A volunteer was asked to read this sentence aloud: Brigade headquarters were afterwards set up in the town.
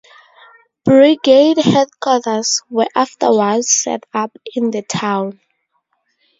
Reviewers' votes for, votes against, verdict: 4, 0, accepted